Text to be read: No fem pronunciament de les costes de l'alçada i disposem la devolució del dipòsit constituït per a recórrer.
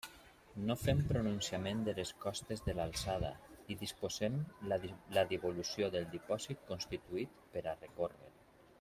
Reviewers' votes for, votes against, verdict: 1, 2, rejected